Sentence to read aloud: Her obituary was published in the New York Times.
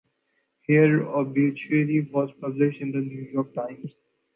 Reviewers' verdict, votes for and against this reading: accepted, 2, 0